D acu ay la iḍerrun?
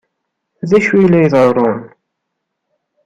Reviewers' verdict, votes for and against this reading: accepted, 2, 0